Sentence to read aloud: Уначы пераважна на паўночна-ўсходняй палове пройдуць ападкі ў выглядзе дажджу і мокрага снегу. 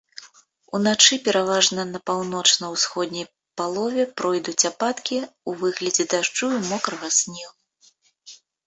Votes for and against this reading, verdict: 1, 2, rejected